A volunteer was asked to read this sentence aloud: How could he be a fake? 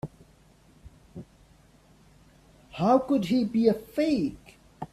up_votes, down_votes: 3, 0